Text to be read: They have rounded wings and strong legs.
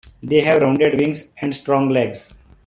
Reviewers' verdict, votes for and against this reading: accepted, 2, 0